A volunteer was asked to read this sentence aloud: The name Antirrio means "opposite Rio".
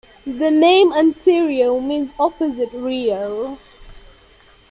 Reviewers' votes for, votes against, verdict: 2, 0, accepted